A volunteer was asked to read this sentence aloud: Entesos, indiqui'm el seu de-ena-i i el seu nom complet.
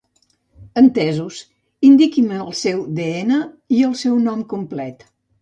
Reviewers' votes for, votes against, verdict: 0, 2, rejected